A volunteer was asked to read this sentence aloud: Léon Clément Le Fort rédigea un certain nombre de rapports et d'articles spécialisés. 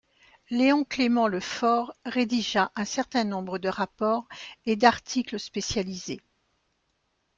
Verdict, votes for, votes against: accepted, 2, 0